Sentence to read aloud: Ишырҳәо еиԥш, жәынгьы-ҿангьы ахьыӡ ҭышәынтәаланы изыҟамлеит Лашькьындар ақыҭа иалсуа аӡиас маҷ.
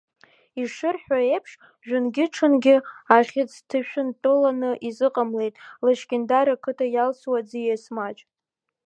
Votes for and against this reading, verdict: 1, 2, rejected